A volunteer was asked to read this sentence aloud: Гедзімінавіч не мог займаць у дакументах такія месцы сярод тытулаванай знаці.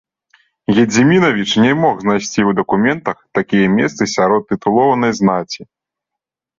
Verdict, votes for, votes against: rejected, 0, 2